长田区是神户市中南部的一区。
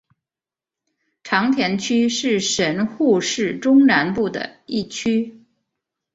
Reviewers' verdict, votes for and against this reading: accepted, 2, 0